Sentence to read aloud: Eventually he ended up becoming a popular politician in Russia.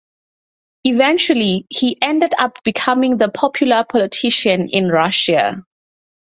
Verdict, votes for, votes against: rejected, 2, 2